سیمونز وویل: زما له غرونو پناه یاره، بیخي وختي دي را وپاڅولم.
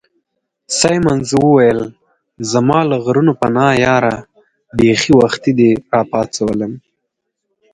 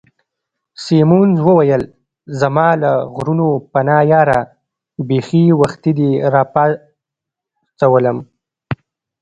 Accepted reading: first